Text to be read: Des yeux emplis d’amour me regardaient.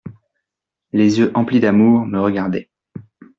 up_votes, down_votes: 1, 2